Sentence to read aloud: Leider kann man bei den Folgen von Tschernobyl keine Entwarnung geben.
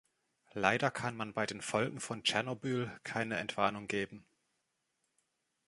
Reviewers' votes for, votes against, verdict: 2, 0, accepted